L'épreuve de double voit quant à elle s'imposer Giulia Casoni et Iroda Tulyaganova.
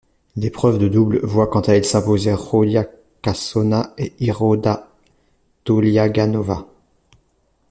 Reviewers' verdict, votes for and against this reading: rejected, 0, 2